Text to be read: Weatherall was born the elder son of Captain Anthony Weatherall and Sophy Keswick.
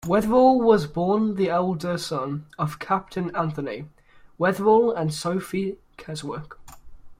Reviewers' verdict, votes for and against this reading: accepted, 2, 0